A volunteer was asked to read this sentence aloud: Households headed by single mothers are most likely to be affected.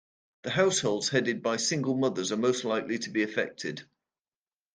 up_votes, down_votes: 0, 2